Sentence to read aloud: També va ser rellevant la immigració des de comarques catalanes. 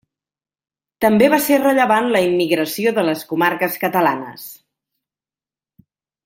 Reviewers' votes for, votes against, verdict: 0, 2, rejected